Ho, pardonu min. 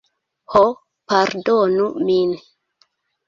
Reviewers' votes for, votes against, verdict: 0, 2, rejected